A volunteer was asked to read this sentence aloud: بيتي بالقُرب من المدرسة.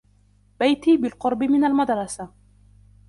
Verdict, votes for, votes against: rejected, 1, 2